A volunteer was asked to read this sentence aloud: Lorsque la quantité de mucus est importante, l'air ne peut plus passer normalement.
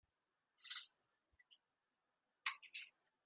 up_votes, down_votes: 0, 2